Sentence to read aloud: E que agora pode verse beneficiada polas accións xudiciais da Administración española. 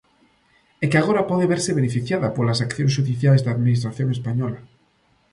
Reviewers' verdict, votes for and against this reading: accepted, 2, 0